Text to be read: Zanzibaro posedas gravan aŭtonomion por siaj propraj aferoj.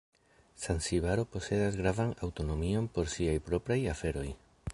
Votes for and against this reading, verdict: 0, 2, rejected